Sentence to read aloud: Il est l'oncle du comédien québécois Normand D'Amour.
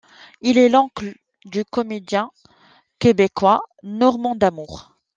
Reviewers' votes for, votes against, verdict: 2, 0, accepted